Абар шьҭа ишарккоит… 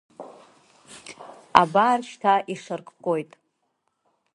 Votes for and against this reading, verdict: 2, 0, accepted